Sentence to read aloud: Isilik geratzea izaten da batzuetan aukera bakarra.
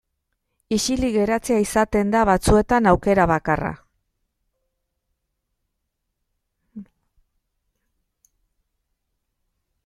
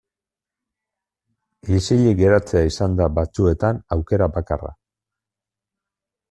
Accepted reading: first